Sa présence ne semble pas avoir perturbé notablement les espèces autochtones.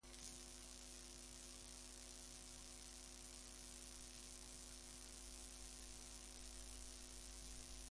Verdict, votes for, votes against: rejected, 0, 2